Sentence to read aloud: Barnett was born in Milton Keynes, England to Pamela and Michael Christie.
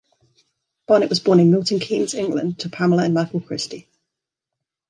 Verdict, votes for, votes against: accepted, 2, 1